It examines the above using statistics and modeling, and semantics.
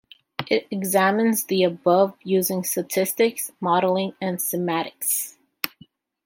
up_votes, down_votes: 0, 2